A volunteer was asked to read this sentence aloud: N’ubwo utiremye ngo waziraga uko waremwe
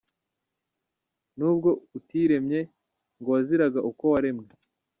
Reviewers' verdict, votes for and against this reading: rejected, 1, 2